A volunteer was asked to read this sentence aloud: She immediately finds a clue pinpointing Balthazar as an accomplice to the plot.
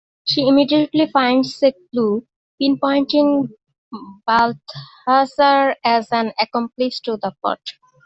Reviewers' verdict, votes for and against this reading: rejected, 1, 2